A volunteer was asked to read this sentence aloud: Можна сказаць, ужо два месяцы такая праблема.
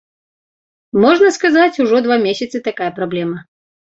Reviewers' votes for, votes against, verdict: 2, 0, accepted